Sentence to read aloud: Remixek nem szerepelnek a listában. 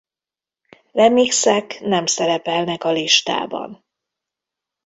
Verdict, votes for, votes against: accepted, 2, 0